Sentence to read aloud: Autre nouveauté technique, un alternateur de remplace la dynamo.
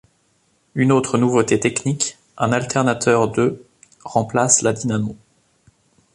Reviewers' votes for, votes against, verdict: 0, 2, rejected